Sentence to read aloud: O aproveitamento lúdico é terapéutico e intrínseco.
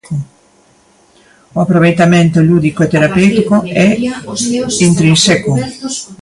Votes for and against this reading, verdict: 0, 2, rejected